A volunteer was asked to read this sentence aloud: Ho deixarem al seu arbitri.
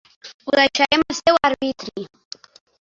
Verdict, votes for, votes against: rejected, 0, 3